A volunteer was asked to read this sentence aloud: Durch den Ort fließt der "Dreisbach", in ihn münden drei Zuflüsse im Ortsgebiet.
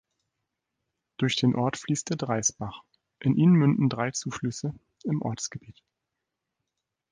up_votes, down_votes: 2, 0